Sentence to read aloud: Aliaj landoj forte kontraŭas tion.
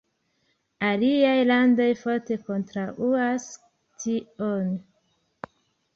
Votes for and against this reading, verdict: 3, 1, accepted